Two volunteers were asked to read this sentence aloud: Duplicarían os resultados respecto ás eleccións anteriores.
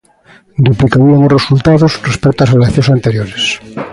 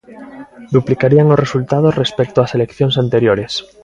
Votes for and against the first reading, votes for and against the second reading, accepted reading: 0, 2, 2, 0, second